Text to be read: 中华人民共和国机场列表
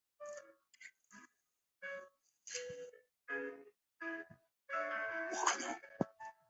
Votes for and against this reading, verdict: 0, 3, rejected